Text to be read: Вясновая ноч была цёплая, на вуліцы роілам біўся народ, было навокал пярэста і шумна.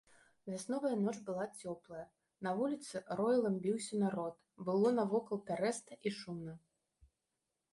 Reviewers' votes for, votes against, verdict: 2, 0, accepted